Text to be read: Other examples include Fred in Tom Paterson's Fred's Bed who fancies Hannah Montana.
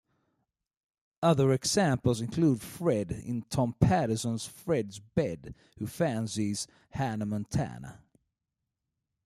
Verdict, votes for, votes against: rejected, 1, 2